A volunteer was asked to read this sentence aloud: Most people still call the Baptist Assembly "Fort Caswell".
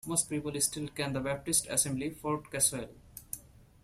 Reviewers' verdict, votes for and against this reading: accepted, 2, 0